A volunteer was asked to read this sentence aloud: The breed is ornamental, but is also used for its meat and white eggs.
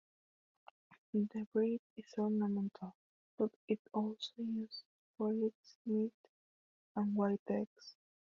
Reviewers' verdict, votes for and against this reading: rejected, 0, 2